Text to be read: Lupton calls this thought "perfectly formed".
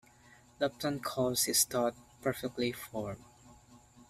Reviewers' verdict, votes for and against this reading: accepted, 2, 0